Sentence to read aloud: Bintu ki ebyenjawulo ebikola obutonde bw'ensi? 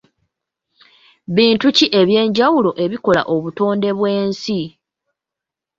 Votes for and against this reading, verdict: 2, 0, accepted